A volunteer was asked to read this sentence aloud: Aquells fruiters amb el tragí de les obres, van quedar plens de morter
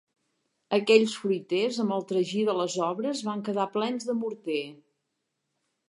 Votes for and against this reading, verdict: 2, 0, accepted